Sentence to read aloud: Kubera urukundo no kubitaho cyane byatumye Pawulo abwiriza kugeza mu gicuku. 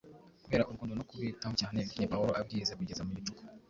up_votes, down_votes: 1, 2